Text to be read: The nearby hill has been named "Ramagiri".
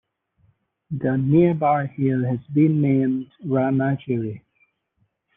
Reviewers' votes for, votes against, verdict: 2, 1, accepted